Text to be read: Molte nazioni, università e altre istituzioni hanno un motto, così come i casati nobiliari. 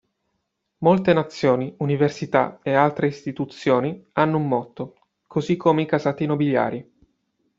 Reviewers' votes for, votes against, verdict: 2, 0, accepted